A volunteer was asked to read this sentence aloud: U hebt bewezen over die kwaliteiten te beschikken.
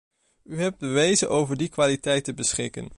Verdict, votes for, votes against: rejected, 1, 2